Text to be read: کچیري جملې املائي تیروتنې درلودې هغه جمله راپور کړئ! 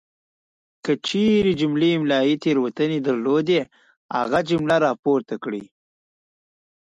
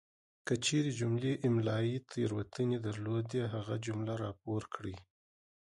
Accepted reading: second